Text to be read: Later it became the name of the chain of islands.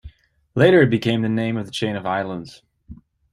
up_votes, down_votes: 2, 0